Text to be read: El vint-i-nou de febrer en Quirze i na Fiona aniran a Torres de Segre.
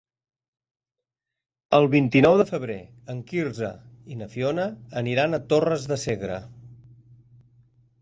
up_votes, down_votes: 2, 0